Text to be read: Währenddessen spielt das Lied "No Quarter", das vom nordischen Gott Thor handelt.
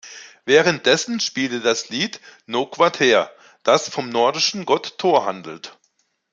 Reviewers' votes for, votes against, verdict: 1, 2, rejected